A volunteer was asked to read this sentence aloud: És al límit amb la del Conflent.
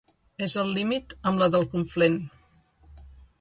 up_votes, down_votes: 2, 0